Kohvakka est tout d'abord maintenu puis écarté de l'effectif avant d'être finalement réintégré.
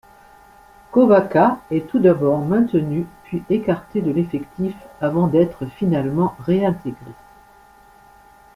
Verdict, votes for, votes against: accepted, 2, 0